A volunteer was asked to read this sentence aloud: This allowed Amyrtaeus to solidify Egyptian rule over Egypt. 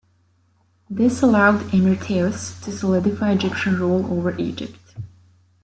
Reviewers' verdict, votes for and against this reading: rejected, 1, 2